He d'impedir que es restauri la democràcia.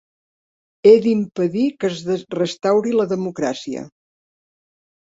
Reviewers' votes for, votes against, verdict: 1, 4, rejected